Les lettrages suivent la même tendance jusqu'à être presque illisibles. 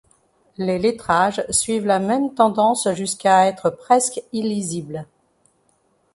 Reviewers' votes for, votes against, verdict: 2, 0, accepted